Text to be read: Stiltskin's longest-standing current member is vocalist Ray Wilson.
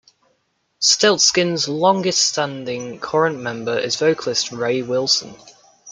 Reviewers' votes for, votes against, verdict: 2, 0, accepted